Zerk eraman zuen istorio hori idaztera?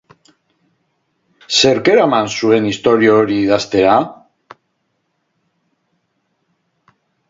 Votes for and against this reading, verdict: 2, 2, rejected